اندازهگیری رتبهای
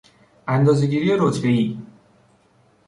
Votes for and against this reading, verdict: 2, 0, accepted